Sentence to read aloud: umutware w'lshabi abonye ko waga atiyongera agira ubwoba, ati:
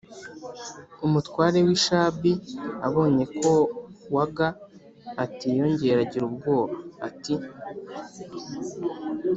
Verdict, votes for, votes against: accepted, 2, 0